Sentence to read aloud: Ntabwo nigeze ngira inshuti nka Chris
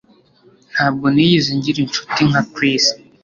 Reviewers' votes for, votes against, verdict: 2, 0, accepted